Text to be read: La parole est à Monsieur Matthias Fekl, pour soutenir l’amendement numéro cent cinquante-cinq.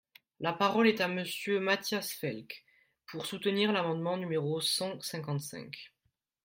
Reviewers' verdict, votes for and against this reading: rejected, 0, 3